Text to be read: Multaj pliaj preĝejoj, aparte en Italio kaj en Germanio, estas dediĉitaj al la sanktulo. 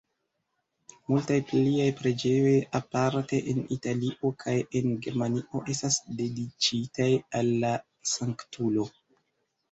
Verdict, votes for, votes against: rejected, 1, 2